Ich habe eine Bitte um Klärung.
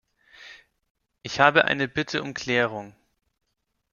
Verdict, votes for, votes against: accepted, 2, 0